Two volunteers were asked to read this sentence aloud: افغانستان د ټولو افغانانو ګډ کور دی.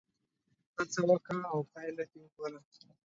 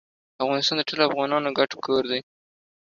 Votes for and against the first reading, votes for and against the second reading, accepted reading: 0, 2, 2, 0, second